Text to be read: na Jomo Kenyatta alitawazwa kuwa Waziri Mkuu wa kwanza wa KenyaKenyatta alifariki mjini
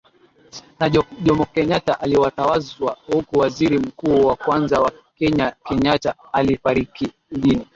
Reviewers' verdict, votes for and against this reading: rejected, 5, 6